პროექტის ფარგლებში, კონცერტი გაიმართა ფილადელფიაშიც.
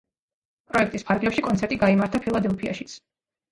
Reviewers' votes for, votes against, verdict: 2, 0, accepted